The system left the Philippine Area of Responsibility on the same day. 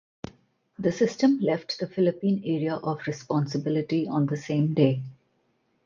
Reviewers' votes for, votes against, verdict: 4, 0, accepted